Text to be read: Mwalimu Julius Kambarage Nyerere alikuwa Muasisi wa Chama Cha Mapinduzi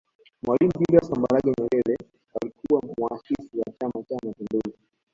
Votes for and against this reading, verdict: 0, 2, rejected